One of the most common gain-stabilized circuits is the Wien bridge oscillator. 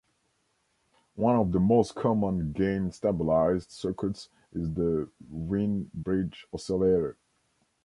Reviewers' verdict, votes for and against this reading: rejected, 0, 2